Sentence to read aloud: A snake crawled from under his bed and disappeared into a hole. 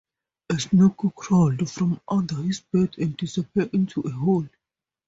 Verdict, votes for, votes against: rejected, 0, 2